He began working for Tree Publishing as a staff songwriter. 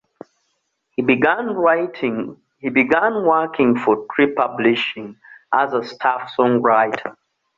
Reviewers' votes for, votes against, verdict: 0, 2, rejected